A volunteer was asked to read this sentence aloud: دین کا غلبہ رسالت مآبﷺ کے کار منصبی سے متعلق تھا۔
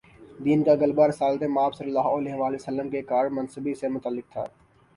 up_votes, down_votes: 2, 0